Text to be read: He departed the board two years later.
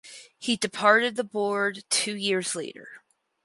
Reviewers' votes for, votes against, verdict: 2, 2, rejected